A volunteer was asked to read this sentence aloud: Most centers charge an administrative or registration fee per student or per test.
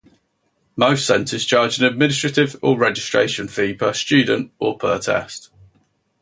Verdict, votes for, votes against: accepted, 4, 0